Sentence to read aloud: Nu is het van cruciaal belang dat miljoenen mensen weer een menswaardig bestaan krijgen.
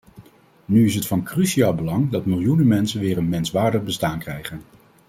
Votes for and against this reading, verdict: 2, 0, accepted